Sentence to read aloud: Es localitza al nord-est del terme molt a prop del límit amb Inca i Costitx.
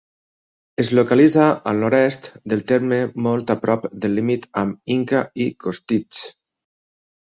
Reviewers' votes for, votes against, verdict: 6, 4, accepted